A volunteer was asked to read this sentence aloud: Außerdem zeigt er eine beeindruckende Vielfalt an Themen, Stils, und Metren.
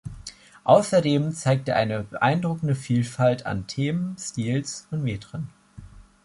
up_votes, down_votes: 2, 0